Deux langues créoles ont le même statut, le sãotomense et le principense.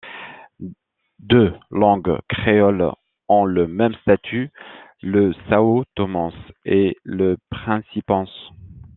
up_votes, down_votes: 2, 1